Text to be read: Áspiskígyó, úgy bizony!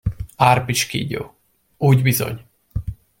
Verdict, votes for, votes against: rejected, 0, 2